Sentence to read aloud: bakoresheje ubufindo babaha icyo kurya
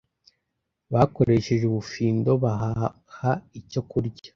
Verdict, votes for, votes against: rejected, 0, 2